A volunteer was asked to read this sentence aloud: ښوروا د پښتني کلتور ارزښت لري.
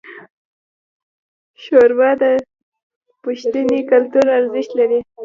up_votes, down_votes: 2, 1